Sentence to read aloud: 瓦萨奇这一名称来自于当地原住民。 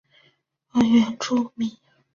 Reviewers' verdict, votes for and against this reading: rejected, 0, 3